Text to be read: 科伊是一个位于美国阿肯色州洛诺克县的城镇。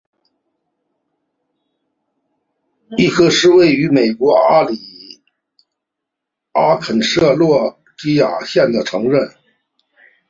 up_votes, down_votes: 0, 2